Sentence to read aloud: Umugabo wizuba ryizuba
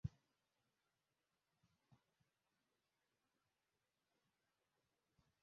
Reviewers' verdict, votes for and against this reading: rejected, 0, 2